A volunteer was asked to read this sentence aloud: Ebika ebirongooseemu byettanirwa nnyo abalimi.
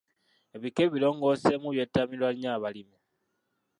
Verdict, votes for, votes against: rejected, 0, 2